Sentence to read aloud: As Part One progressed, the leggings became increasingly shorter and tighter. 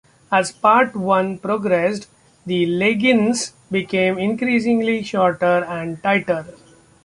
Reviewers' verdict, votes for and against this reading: accepted, 2, 0